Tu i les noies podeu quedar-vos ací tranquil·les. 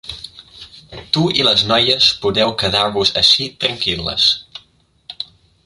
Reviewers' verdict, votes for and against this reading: accepted, 4, 1